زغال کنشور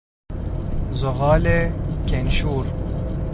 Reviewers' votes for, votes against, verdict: 1, 2, rejected